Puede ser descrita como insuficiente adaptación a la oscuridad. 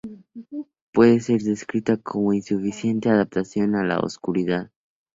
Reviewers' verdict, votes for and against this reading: accepted, 4, 0